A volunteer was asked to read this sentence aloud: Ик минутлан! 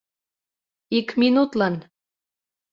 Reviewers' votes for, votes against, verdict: 2, 0, accepted